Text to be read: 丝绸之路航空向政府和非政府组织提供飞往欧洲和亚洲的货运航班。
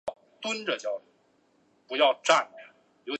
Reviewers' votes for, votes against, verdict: 0, 3, rejected